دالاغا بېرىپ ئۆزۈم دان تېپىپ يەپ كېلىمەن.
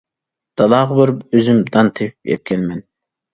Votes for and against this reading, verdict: 1, 2, rejected